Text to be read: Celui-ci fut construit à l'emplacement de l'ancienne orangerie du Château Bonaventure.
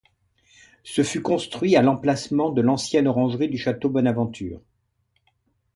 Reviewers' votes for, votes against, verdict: 0, 2, rejected